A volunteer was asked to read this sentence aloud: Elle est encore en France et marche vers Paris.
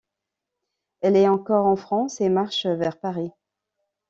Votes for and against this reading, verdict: 2, 0, accepted